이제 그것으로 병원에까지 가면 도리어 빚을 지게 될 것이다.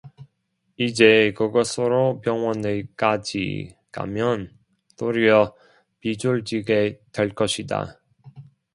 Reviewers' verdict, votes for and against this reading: rejected, 0, 2